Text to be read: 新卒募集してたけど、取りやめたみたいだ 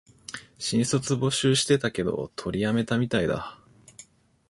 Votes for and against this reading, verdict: 2, 0, accepted